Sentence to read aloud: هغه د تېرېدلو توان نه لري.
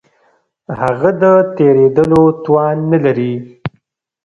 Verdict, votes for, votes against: rejected, 1, 2